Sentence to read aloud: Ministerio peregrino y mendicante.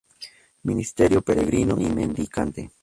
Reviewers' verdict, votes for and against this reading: accepted, 2, 0